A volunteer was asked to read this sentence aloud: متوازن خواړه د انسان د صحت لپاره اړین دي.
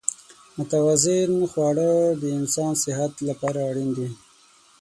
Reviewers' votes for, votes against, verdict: 3, 6, rejected